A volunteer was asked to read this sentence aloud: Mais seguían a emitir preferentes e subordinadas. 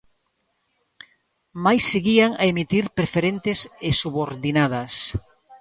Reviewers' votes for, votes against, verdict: 2, 0, accepted